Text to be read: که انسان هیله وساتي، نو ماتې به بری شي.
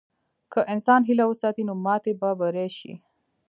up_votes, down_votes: 1, 2